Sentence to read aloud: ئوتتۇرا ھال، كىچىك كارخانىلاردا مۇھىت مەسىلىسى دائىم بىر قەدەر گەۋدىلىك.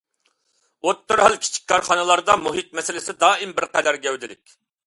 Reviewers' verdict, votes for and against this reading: accepted, 2, 0